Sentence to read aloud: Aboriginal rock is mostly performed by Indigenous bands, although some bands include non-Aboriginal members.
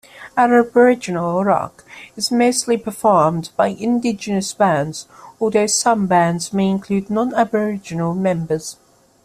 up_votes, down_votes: 0, 2